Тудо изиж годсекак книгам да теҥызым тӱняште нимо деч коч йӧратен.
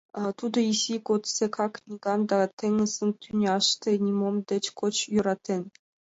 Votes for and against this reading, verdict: 1, 2, rejected